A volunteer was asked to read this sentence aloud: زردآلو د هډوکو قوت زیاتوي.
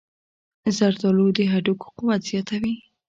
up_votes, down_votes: 2, 0